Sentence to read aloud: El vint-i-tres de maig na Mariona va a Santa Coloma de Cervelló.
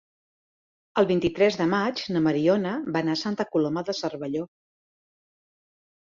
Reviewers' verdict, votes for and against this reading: rejected, 0, 3